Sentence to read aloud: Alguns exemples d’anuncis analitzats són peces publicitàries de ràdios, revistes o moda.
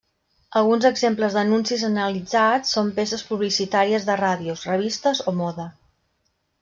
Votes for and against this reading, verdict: 3, 0, accepted